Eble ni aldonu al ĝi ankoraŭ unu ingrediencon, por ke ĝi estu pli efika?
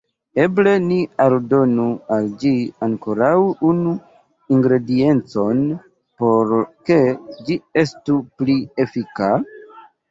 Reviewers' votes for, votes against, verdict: 2, 1, accepted